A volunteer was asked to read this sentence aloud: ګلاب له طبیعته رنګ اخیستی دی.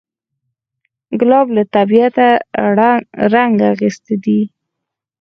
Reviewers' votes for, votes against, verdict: 2, 4, rejected